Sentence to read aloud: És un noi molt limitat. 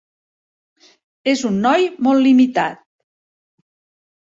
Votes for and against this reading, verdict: 3, 0, accepted